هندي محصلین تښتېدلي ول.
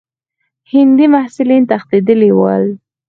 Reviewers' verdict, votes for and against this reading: accepted, 4, 2